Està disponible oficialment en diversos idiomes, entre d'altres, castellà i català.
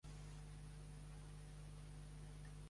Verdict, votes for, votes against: rejected, 0, 2